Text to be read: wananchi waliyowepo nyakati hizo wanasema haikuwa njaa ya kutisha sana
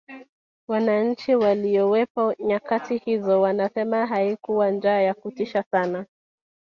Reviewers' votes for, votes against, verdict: 0, 2, rejected